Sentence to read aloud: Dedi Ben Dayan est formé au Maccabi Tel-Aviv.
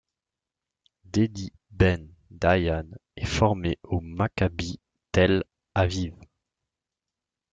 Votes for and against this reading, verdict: 2, 1, accepted